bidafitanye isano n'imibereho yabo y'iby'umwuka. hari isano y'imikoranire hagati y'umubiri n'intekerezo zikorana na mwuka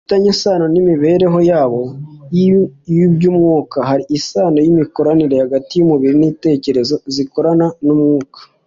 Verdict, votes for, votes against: rejected, 0, 2